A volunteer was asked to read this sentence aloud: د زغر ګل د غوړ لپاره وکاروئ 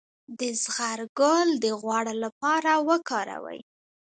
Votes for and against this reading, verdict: 0, 2, rejected